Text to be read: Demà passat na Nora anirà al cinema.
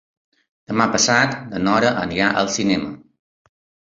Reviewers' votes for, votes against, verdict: 3, 0, accepted